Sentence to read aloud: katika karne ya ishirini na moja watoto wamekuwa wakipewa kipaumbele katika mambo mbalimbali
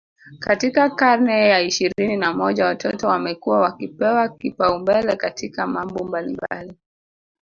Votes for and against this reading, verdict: 2, 0, accepted